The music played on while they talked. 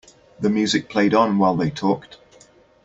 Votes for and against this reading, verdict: 2, 0, accepted